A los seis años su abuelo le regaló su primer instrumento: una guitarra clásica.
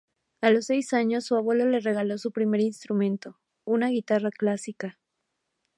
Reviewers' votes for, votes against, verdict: 2, 0, accepted